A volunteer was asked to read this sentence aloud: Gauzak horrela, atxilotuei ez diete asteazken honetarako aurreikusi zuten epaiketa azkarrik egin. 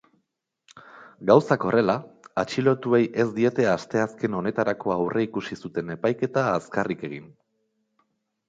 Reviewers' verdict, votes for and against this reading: accepted, 2, 1